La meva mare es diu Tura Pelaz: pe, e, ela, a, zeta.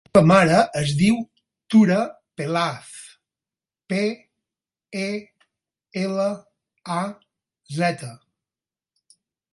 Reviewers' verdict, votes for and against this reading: rejected, 2, 4